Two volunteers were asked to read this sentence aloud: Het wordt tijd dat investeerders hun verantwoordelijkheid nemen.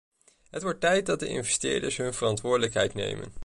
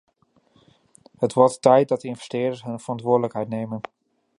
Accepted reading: second